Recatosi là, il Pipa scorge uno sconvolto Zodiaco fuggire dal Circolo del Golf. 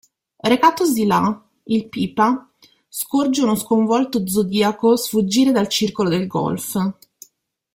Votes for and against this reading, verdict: 0, 2, rejected